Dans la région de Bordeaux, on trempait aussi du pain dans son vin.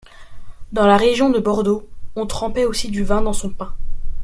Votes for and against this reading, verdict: 1, 2, rejected